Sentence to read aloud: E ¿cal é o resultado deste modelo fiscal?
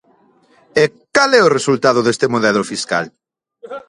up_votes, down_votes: 4, 2